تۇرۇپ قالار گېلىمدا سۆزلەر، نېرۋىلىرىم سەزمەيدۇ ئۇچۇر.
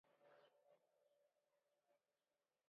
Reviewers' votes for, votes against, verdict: 0, 2, rejected